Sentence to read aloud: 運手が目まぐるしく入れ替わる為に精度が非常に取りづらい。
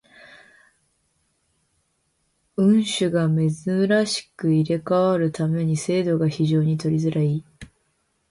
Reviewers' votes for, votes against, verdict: 0, 2, rejected